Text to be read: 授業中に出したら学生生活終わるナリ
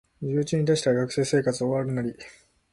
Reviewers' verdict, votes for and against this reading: accepted, 2, 1